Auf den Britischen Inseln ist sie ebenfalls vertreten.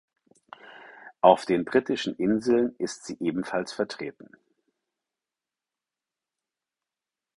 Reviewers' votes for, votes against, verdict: 4, 0, accepted